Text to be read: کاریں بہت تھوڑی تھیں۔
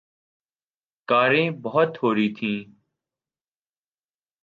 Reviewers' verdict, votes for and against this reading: accepted, 2, 0